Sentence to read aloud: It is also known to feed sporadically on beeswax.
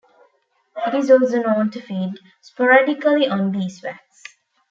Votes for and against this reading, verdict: 0, 2, rejected